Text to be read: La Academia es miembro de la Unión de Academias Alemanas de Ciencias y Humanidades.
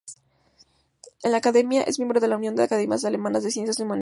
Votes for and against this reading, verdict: 0, 2, rejected